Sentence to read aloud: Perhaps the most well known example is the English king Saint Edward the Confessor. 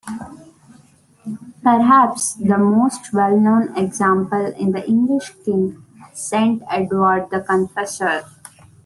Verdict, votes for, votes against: rejected, 1, 2